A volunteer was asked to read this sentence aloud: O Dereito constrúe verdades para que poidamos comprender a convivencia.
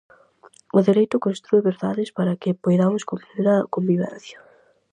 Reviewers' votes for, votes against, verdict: 2, 2, rejected